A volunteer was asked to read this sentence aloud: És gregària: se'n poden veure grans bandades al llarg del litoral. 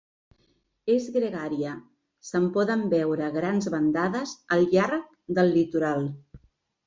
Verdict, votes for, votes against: accepted, 2, 0